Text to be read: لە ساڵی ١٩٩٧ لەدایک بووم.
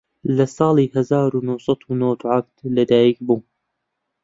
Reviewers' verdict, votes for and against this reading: rejected, 0, 2